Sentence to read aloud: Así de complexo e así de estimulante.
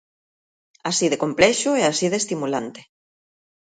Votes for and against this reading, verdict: 2, 1, accepted